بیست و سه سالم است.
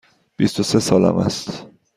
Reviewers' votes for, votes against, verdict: 2, 0, accepted